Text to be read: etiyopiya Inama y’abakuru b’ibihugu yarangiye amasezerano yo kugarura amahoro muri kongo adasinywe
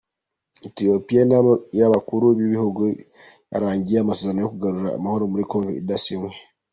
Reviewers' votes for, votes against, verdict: 2, 1, accepted